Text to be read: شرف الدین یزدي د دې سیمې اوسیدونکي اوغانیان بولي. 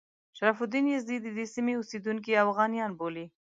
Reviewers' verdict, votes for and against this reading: rejected, 0, 2